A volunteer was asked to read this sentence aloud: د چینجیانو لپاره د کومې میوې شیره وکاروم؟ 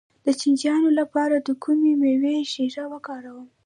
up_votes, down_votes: 2, 1